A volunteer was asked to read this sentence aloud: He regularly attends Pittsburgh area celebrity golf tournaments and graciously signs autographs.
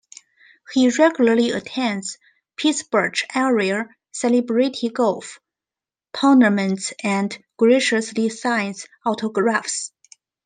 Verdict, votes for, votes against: rejected, 0, 2